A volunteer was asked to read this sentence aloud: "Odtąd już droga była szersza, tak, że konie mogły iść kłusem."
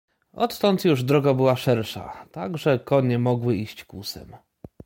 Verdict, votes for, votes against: accepted, 2, 0